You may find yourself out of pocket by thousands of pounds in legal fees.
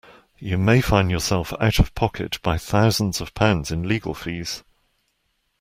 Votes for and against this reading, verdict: 2, 0, accepted